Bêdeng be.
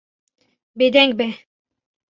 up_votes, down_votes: 2, 0